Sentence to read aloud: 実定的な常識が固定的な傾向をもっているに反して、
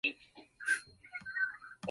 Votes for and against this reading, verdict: 0, 2, rejected